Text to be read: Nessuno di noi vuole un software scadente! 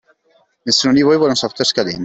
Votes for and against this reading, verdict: 0, 2, rejected